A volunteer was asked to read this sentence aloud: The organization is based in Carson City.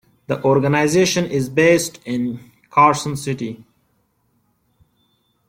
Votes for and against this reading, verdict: 2, 0, accepted